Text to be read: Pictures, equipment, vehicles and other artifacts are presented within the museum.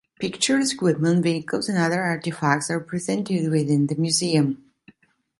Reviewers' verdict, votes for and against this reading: rejected, 0, 2